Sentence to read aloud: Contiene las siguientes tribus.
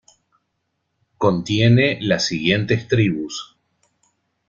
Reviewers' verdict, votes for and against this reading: accepted, 2, 0